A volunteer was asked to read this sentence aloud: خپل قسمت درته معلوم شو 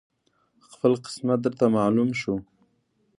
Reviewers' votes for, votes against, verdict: 2, 1, accepted